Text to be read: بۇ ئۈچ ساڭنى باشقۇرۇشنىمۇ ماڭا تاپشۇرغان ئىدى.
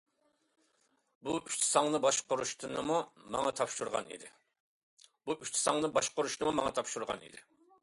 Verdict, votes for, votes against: rejected, 0, 2